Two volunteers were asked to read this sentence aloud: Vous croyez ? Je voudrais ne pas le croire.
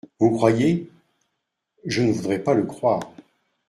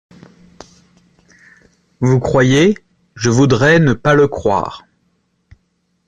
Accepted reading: second